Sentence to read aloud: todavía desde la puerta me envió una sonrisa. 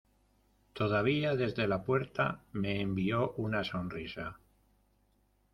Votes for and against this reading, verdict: 2, 0, accepted